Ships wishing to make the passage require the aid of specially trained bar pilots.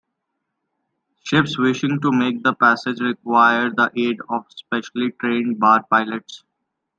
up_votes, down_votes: 2, 0